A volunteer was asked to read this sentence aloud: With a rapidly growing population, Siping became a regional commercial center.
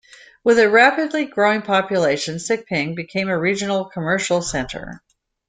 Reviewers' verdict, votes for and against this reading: accepted, 2, 0